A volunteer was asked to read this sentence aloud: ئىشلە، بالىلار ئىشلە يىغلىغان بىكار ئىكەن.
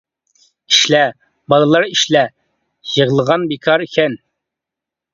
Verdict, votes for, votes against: accepted, 2, 0